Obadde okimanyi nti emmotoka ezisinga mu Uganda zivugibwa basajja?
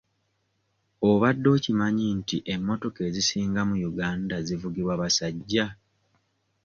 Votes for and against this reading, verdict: 2, 0, accepted